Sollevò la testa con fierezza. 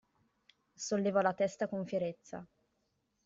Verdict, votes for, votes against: accepted, 2, 0